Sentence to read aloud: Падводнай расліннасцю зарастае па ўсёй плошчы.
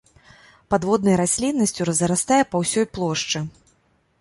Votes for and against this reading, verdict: 0, 2, rejected